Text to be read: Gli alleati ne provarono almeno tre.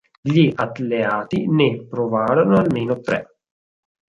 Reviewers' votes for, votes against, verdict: 2, 4, rejected